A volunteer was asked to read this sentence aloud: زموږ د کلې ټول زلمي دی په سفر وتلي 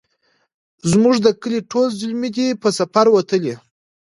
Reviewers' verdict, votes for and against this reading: accepted, 2, 0